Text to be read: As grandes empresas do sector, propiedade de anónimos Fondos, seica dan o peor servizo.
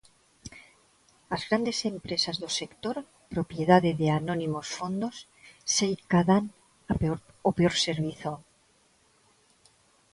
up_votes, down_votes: 0, 2